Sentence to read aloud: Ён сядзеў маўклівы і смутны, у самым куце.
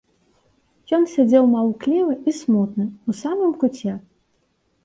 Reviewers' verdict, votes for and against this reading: accepted, 2, 0